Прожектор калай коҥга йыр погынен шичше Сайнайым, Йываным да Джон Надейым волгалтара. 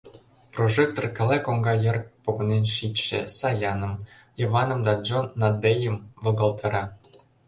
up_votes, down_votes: 0, 2